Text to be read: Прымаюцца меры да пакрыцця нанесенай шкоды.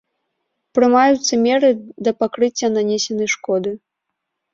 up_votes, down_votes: 1, 2